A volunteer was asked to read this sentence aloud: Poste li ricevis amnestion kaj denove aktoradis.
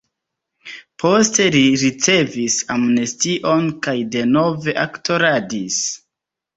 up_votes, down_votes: 2, 0